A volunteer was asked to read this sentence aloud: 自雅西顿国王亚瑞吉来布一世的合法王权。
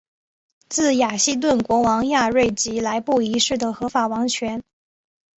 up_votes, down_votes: 3, 0